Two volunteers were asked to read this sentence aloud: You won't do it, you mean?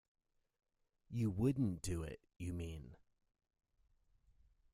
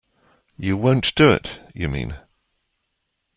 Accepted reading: second